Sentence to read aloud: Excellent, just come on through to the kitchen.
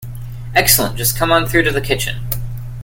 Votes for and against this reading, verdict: 2, 0, accepted